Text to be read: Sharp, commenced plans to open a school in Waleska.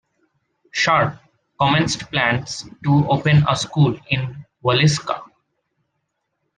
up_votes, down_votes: 3, 0